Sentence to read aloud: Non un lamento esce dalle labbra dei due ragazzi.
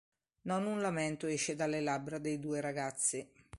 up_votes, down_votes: 2, 0